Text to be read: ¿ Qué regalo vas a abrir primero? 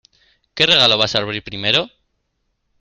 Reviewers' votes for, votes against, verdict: 2, 1, accepted